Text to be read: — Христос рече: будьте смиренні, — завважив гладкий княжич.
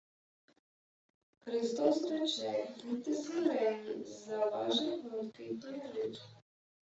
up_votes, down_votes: 0, 2